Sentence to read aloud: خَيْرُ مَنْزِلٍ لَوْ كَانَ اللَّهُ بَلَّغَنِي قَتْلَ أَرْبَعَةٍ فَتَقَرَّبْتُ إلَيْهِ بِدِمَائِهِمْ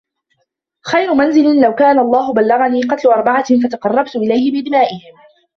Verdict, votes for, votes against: accepted, 2, 1